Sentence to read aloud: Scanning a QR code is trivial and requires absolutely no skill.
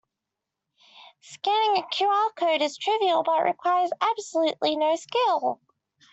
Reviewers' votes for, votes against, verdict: 0, 2, rejected